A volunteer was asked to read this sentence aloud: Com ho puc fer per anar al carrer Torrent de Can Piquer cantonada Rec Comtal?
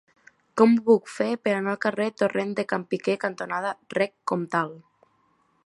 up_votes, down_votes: 2, 1